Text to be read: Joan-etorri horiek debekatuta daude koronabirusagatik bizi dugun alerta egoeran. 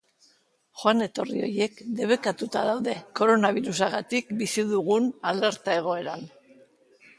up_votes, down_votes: 1, 2